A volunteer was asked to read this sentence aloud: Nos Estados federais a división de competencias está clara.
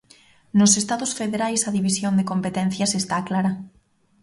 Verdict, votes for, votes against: accepted, 3, 0